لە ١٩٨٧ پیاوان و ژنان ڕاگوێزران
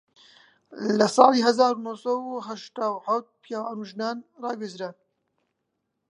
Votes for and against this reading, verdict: 0, 2, rejected